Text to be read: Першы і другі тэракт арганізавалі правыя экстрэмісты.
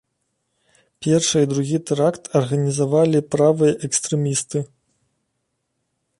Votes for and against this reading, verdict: 2, 0, accepted